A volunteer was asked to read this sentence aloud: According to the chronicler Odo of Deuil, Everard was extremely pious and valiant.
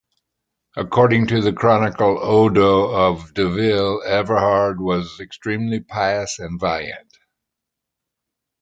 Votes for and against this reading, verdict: 1, 2, rejected